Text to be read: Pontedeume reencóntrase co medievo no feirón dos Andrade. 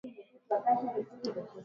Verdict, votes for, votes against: rejected, 0, 3